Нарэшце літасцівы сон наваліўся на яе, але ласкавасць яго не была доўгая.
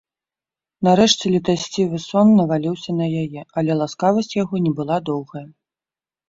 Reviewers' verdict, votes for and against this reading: rejected, 0, 2